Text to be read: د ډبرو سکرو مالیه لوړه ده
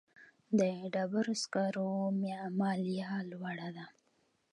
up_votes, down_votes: 2, 0